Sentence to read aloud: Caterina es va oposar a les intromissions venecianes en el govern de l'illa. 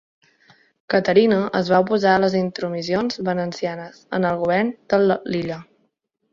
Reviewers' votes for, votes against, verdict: 0, 2, rejected